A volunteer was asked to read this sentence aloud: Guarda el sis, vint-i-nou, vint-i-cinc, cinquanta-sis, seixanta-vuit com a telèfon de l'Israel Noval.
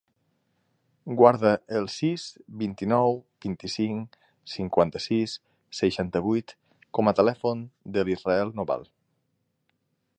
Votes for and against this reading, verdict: 6, 0, accepted